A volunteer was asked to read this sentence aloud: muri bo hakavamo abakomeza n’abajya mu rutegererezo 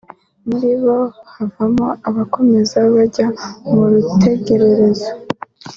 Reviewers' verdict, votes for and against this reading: accepted, 2, 0